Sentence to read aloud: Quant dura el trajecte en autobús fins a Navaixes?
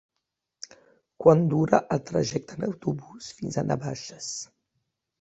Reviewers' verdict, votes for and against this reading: accepted, 3, 0